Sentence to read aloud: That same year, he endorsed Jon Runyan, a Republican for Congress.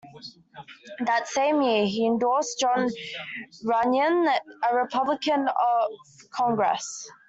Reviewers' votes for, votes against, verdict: 0, 2, rejected